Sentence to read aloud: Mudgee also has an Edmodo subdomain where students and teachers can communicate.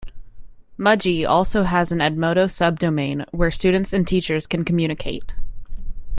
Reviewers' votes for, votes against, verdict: 2, 0, accepted